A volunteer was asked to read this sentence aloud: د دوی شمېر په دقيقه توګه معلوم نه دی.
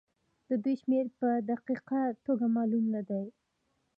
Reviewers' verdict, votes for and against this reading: rejected, 1, 2